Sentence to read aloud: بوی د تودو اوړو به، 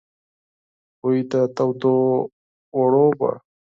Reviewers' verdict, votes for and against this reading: rejected, 0, 4